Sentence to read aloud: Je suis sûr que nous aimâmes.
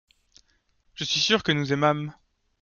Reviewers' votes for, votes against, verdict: 2, 0, accepted